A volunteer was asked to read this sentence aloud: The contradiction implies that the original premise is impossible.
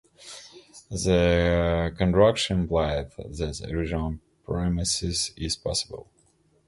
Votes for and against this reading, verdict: 0, 2, rejected